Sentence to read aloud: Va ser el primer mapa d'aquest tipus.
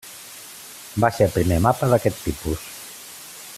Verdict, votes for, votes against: accepted, 2, 0